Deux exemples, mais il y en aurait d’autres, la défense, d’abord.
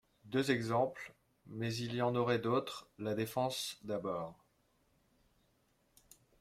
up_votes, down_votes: 2, 0